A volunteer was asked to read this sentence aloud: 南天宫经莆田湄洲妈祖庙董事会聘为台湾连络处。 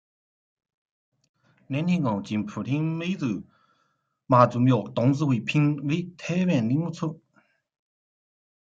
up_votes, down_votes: 0, 2